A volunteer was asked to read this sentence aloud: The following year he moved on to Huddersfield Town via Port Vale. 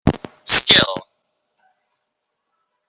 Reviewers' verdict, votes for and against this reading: rejected, 0, 2